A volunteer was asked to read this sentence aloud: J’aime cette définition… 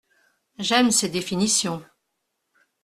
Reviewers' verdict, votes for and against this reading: rejected, 1, 2